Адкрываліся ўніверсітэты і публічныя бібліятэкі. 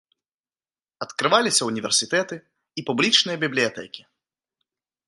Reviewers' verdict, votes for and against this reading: accepted, 2, 0